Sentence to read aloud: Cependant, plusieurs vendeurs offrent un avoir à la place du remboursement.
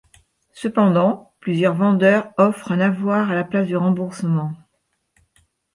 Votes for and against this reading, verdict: 2, 0, accepted